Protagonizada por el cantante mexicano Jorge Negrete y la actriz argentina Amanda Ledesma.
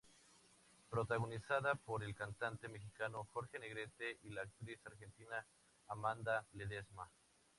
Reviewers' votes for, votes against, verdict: 0, 2, rejected